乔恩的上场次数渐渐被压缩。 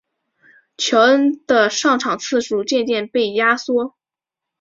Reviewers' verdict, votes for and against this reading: accepted, 2, 0